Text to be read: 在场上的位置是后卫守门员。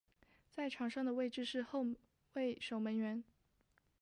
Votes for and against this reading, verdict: 2, 0, accepted